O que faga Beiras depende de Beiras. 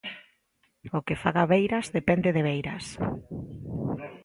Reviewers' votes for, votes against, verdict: 0, 2, rejected